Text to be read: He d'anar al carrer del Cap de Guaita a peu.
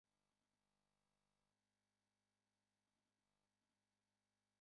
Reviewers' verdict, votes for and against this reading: rejected, 0, 2